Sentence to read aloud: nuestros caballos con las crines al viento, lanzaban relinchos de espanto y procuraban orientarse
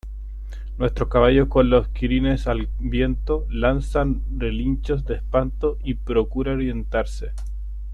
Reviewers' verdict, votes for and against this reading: rejected, 0, 2